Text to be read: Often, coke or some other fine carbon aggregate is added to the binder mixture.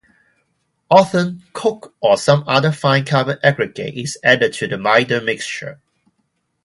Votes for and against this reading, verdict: 2, 0, accepted